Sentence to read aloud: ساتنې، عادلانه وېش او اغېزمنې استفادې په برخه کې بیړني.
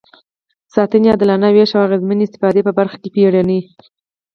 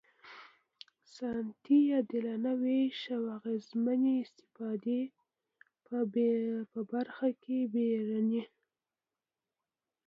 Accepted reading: first